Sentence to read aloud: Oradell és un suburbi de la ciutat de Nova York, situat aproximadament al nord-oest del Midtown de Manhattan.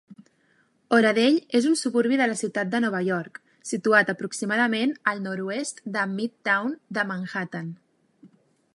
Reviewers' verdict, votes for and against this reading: accepted, 2, 0